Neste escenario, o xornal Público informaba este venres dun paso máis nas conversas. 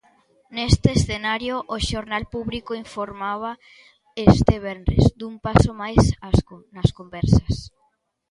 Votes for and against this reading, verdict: 0, 2, rejected